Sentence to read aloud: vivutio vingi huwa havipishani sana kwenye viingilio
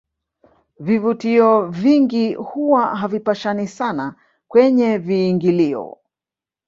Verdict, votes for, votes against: accepted, 3, 1